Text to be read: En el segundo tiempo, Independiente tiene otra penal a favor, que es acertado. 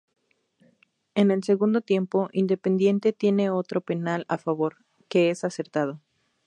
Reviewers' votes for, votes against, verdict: 0, 2, rejected